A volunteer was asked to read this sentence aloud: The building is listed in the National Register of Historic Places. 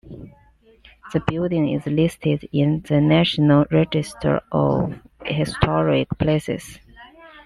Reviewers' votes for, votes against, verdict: 2, 0, accepted